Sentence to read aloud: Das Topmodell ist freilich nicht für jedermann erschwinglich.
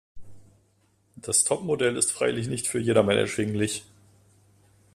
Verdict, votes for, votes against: accepted, 2, 1